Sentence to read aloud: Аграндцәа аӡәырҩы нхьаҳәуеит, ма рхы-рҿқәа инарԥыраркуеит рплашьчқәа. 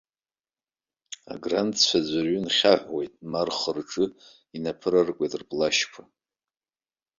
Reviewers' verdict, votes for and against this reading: rejected, 0, 2